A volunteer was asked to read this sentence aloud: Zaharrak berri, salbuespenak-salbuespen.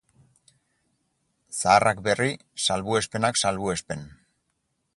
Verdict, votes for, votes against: accepted, 4, 0